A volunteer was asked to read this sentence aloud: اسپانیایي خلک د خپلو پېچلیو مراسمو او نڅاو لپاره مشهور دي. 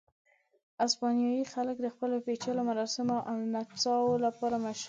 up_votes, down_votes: 1, 2